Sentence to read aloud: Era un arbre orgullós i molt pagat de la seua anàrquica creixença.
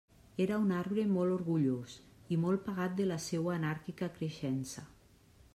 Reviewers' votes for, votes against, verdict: 1, 2, rejected